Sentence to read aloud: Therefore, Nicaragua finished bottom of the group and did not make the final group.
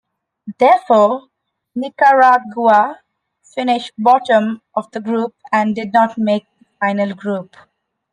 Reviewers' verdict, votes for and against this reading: accepted, 2, 0